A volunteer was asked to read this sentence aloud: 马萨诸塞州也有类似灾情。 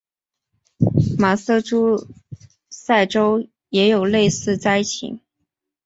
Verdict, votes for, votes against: accepted, 2, 0